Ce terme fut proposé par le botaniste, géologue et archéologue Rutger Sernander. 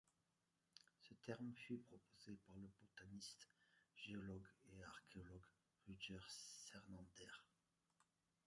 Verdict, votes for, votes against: rejected, 1, 2